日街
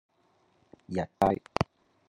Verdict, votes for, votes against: rejected, 1, 3